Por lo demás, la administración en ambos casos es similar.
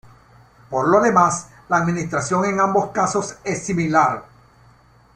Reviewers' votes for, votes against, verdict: 3, 1, accepted